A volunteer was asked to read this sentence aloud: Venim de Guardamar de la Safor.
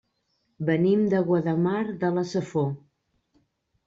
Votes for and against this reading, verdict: 0, 2, rejected